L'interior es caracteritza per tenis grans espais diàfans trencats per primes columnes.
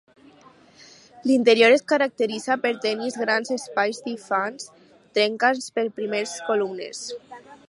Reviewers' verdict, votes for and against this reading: rejected, 0, 4